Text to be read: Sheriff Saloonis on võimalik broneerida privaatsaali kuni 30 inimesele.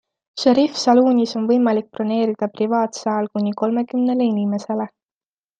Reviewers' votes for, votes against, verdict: 0, 2, rejected